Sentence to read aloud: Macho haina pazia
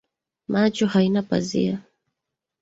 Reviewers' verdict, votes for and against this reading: accepted, 2, 0